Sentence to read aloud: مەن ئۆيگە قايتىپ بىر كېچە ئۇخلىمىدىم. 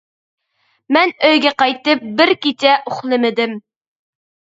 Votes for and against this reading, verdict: 2, 0, accepted